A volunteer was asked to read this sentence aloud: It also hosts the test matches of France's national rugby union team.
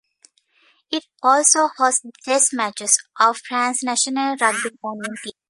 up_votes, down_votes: 1, 2